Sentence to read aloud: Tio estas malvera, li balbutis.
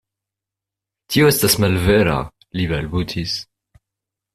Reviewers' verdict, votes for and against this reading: accepted, 2, 0